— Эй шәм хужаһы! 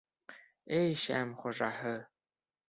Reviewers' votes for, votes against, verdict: 2, 0, accepted